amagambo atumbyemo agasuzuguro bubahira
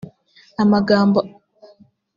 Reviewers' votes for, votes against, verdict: 0, 2, rejected